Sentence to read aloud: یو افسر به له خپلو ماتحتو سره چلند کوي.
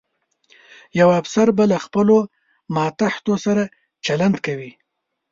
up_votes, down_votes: 2, 0